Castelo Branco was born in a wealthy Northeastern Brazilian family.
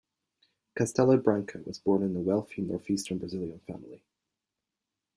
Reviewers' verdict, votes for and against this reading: accepted, 2, 0